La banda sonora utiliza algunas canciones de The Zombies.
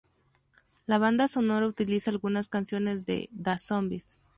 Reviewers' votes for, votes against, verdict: 4, 0, accepted